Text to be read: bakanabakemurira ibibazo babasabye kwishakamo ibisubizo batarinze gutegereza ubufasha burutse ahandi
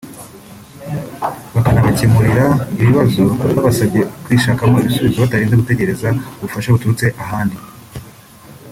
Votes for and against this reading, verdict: 0, 2, rejected